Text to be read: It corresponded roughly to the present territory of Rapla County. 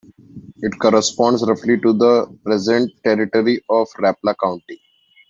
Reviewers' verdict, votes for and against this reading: rejected, 1, 2